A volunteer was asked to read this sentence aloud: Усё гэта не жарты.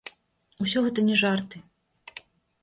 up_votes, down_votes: 2, 0